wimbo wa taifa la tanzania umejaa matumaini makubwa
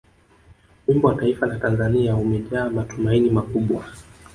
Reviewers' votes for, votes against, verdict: 1, 2, rejected